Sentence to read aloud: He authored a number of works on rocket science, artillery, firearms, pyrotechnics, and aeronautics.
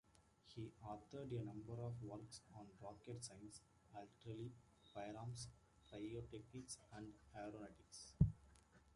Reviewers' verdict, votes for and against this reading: rejected, 0, 2